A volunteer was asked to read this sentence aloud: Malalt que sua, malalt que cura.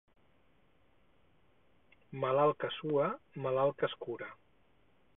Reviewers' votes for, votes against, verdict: 0, 4, rejected